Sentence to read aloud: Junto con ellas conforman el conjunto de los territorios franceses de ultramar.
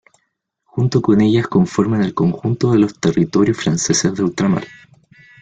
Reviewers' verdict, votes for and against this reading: rejected, 1, 2